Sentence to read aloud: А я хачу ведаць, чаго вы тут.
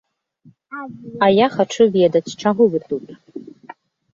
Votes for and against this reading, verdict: 2, 0, accepted